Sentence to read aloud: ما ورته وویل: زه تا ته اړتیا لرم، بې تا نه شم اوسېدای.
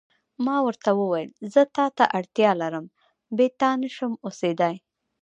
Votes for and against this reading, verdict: 0, 2, rejected